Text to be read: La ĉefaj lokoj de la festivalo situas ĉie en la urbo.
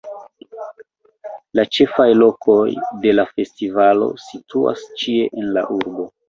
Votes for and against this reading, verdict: 1, 2, rejected